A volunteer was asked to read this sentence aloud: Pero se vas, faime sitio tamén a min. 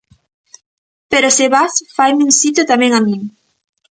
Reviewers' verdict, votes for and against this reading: rejected, 1, 2